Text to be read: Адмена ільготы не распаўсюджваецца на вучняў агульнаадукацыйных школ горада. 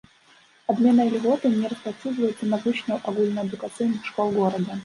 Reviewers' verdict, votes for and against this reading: rejected, 0, 2